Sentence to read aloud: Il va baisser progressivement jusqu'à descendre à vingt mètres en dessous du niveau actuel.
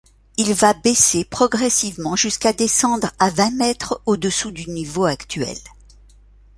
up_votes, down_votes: 0, 2